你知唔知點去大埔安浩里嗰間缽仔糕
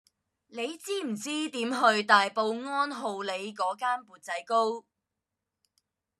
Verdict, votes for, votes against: accepted, 2, 0